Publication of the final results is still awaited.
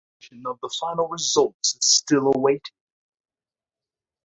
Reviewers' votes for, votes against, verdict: 1, 2, rejected